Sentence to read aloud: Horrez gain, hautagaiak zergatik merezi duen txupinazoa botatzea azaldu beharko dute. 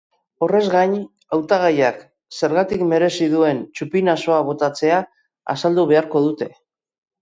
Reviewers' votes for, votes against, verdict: 2, 0, accepted